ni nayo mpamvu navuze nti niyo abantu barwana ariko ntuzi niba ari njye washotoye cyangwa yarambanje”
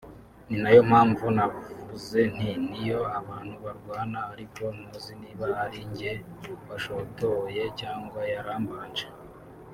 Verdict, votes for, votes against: accepted, 2, 0